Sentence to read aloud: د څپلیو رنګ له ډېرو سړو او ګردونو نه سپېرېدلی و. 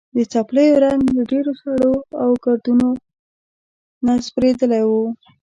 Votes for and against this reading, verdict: 0, 2, rejected